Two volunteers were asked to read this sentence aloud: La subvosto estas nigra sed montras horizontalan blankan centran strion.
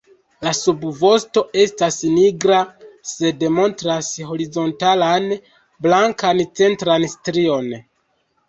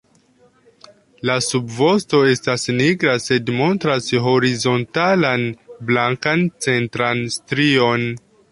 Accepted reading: second